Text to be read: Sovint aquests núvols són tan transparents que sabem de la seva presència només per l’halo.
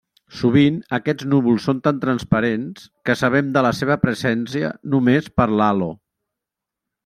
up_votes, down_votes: 1, 2